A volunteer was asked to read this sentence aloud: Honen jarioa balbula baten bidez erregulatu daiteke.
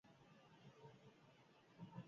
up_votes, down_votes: 0, 8